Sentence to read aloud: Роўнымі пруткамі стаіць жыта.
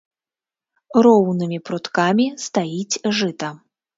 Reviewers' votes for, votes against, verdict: 2, 0, accepted